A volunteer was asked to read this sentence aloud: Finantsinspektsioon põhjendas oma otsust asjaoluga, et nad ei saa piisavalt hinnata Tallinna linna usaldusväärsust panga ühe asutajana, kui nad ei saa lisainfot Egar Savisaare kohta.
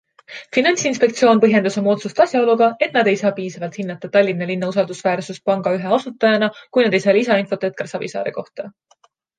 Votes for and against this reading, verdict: 2, 0, accepted